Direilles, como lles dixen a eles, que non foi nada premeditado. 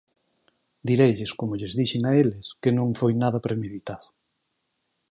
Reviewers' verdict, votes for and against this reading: accepted, 6, 0